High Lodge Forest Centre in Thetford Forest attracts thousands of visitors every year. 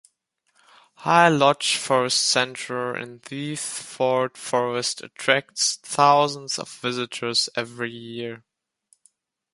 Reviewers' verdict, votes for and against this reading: accepted, 2, 1